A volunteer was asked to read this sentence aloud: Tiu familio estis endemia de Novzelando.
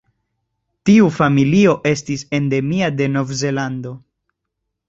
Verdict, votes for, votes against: accepted, 2, 0